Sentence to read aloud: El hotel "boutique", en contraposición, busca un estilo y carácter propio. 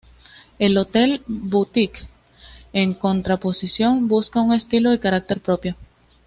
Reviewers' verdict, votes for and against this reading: accepted, 2, 1